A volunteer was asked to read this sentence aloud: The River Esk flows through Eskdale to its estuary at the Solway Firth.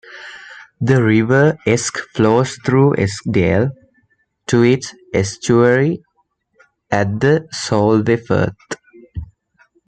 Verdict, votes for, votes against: rejected, 0, 2